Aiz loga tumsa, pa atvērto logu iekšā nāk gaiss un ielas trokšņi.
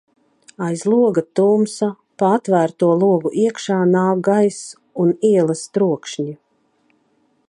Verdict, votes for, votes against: accepted, 2, 0